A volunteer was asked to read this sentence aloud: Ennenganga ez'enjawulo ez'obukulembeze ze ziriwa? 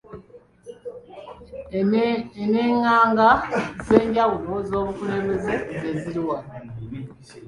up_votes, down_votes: 0, 2